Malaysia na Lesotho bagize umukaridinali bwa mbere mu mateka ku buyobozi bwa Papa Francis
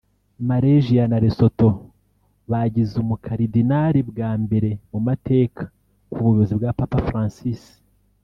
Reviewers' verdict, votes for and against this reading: accepted, 2, 0